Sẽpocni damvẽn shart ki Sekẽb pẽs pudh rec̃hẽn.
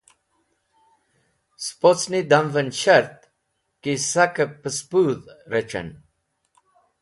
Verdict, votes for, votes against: rejected, 1, 2